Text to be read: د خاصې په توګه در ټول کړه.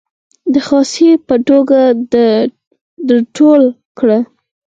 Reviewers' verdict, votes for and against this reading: rejected, 2, 4